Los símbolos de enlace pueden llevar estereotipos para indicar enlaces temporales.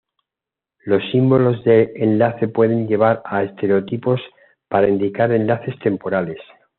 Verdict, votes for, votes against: rejected, 1, 2